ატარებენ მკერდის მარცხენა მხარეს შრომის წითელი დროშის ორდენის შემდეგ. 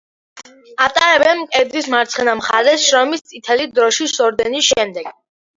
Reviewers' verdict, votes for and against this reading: rejected, 1, 2